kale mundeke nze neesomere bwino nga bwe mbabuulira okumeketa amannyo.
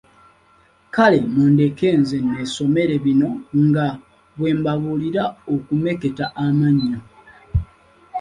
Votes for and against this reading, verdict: 0, 2, rejected